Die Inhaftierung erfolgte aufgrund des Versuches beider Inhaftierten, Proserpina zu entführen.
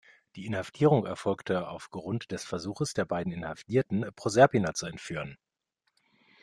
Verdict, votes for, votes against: rejected, 1, 2